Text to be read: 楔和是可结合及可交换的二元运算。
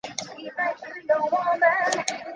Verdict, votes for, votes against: rejected, 1, 2